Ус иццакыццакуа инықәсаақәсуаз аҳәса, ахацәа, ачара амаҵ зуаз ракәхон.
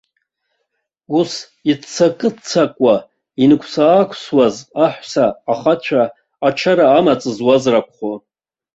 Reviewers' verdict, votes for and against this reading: accepted, 2, 0